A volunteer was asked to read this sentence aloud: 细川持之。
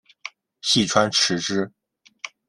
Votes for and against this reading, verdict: 2, 0, accepted